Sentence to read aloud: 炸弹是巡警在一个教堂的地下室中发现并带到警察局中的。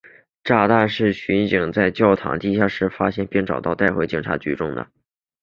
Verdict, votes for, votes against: accepted, 2, 0